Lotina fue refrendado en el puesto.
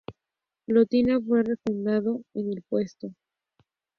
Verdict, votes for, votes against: accepted, 2, 0